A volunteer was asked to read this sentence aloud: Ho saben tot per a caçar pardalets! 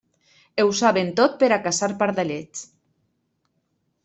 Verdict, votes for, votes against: rejected, 1, 2